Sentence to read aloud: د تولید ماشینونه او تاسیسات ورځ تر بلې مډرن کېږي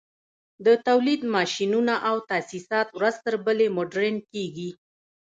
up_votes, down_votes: 0, 2